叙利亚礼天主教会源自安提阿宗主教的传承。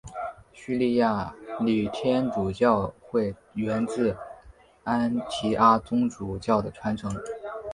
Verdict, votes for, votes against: accepted, 2, 1